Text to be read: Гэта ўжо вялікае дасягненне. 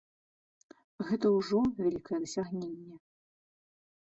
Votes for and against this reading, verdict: 1, 2, rejected